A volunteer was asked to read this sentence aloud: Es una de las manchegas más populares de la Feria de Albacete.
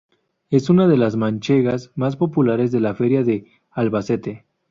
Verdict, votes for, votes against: accepted, 2, 0